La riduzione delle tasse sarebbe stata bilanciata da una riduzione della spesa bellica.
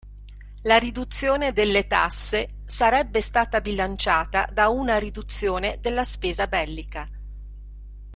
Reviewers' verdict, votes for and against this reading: accepted, 2, 0